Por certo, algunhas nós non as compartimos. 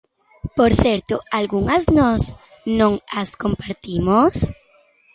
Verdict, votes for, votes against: accepted, 2, 0